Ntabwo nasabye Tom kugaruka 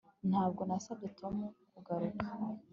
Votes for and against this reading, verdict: 2, 0, accepted